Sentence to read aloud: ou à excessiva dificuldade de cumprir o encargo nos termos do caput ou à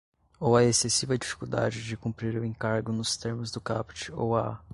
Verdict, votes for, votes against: accepted, 2, 0